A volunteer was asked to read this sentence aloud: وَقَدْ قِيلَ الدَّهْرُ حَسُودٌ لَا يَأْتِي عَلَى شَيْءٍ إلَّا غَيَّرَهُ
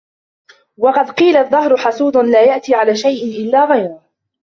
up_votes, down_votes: 2, 1